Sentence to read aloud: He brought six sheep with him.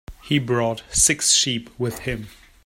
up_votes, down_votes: 2, 0